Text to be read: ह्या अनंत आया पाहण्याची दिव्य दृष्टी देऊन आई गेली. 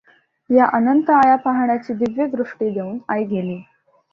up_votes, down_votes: 2, 0